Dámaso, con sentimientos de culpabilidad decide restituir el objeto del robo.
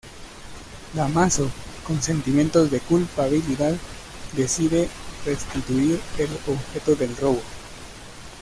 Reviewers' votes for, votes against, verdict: 1, 2, rejected